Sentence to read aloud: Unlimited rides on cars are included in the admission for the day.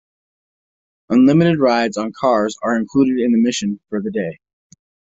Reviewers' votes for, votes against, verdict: 2, 1, accepted